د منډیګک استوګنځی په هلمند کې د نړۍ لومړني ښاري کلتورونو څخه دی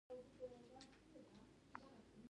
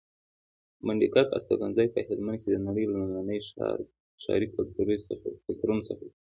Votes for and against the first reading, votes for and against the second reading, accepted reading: 1, 2, 2, 0, second